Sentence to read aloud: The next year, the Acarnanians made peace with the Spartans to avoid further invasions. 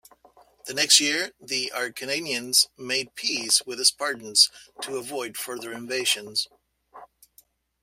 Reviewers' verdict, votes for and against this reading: accepted, 2, 1